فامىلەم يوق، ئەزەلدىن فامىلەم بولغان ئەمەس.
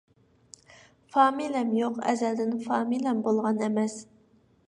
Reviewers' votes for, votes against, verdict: 1, 2, rejected